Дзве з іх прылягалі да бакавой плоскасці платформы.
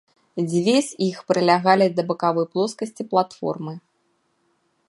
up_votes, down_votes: 2, 0